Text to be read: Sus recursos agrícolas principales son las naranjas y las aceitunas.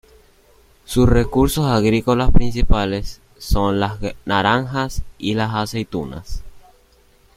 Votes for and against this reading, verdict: 1, 2, rejected